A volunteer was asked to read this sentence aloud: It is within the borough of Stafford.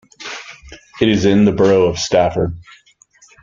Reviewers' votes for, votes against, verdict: 0, 2, rejected